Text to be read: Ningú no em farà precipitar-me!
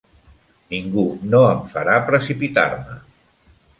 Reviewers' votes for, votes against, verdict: 3, 1, accepted